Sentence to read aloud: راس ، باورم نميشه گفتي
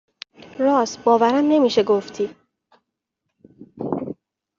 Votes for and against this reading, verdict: 3, 0, accepted